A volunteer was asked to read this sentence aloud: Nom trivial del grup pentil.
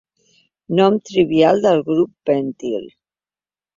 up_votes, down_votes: 2, 1